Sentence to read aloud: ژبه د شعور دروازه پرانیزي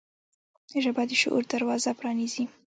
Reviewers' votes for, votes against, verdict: 0, 2, rejected